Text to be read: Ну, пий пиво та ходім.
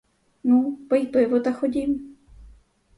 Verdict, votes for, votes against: rejected, 2, 2